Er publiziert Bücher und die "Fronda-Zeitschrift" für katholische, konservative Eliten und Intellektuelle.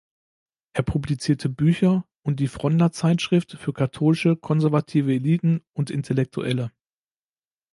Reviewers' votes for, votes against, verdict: 1, 2, rejected